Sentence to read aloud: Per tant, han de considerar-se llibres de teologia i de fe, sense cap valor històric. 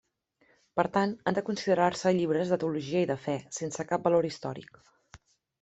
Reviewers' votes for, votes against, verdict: 3, 0, accepted